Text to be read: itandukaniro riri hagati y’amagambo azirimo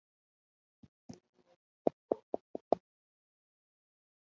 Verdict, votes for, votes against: rejected, 0, 2